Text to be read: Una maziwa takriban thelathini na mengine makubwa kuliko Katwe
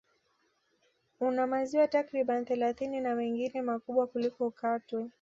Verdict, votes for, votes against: accepted, 2, 0